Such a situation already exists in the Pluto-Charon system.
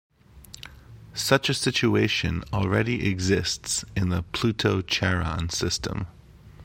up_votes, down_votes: 2, 0